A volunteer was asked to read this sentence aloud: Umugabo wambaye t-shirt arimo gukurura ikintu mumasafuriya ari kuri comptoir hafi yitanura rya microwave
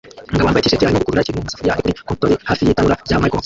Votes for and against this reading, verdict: 0, 2, rejected